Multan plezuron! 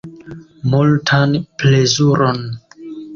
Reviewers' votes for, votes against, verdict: 2, 1, accepted